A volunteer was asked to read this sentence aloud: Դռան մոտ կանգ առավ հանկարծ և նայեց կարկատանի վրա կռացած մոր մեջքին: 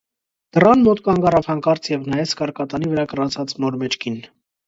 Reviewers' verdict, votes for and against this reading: rejected, 1, 2